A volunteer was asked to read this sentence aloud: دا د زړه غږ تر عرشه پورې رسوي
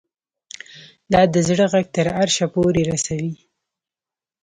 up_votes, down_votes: 2, 0